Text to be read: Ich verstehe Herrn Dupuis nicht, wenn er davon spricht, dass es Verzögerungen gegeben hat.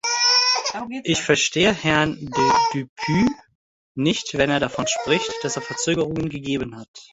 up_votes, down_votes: 1, 2